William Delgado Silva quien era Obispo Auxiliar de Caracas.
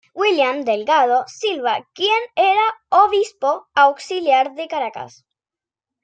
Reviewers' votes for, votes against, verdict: 0, 2, rejected